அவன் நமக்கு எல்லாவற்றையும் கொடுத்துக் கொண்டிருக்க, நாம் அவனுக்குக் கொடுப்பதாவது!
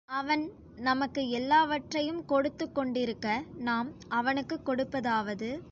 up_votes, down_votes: 2, 0